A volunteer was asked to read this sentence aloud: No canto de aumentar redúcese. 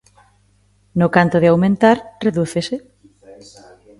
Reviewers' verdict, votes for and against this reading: rejected, 1, 2